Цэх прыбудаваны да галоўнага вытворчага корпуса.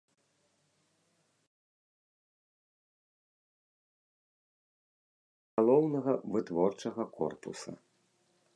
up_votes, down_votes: 0, 2